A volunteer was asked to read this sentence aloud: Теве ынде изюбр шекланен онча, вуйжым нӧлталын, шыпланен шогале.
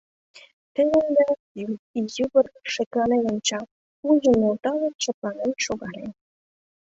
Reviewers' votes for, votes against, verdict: 0, 2, rejected